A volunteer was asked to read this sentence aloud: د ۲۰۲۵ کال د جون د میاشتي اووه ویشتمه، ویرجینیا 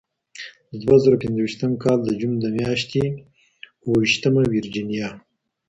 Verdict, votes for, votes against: rejected, 0, 2